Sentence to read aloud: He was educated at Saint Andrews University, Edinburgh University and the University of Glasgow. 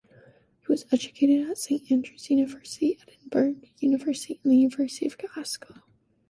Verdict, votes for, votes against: rejected, 1, 2